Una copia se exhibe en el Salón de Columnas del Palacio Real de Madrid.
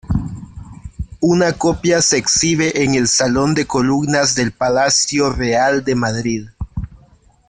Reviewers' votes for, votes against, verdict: 1, 2, rejected